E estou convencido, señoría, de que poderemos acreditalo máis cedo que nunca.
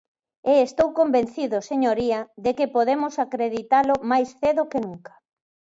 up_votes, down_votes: 3, 4